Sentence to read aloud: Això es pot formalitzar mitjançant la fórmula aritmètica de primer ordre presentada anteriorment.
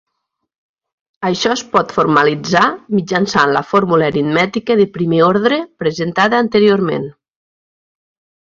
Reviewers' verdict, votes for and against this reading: accepted, 3, 0